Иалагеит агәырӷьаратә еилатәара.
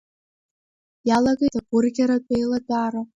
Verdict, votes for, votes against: rejected, 1, 2